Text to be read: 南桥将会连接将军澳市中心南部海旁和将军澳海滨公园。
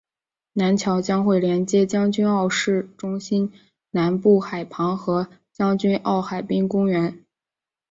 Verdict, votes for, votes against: accepted, 4, 0